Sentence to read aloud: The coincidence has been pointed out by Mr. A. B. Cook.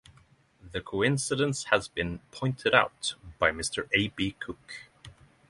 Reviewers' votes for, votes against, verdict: 6, 0, accepted